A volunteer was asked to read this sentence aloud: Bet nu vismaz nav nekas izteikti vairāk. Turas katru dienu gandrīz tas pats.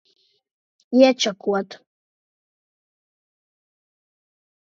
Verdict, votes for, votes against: rejected, 0, 2